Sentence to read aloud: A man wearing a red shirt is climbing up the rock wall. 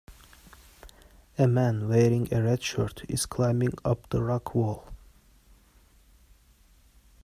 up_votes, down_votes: 2, 0